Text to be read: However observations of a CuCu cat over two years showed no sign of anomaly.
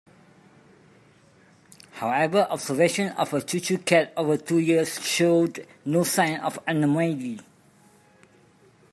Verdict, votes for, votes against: rejected, 0, 2